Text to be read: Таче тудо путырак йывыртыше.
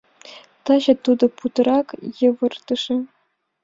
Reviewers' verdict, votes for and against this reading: accepted, 2, 0